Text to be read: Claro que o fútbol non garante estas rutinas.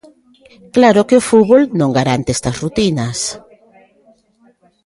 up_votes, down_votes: 1, 2